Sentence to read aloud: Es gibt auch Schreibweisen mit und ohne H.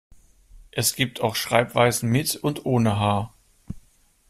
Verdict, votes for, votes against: accepted, 2, 0